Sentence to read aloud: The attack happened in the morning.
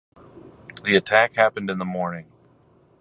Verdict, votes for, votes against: accepted, 2, 0